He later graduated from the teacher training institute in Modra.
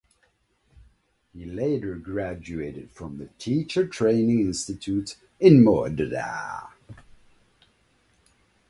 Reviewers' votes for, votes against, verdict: 2, 0, accepted